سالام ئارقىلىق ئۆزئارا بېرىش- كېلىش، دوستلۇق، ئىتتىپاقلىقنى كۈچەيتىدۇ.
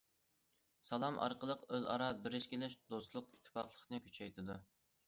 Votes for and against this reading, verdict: 2, 0, accepted